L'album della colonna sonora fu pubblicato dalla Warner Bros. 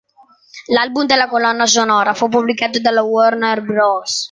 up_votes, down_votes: 2, 0